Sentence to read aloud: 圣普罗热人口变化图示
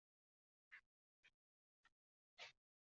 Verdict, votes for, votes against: rejected, 1, 2